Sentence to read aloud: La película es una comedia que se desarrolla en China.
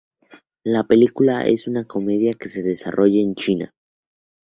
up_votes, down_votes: 2, 0